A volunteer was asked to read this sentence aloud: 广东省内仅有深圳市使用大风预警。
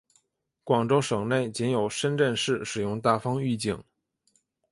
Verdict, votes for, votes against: accepted, 2, 0